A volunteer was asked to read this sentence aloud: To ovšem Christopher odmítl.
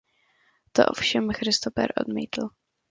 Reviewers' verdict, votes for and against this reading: accepted, 2, 0